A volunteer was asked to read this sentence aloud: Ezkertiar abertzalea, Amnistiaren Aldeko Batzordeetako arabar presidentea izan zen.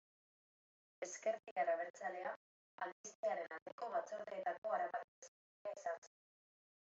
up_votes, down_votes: 0, 2